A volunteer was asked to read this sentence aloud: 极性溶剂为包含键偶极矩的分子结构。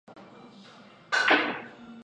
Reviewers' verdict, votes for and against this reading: rejected, 1, 6